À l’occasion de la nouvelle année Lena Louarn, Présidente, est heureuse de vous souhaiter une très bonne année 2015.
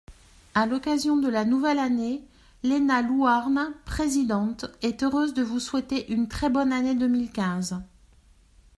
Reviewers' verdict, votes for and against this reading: rejected, 0, 2